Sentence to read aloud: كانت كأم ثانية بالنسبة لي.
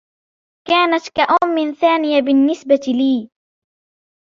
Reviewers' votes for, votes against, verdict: 3, 0, accepted